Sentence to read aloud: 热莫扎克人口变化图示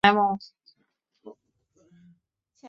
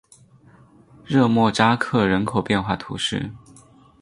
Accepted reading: second